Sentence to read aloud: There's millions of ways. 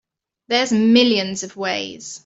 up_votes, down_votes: 2, 0